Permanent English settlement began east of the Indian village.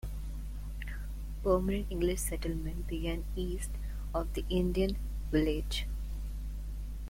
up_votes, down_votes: 2, 1